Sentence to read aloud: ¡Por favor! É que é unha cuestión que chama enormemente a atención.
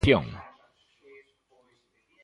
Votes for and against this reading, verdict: 0, 2, rejected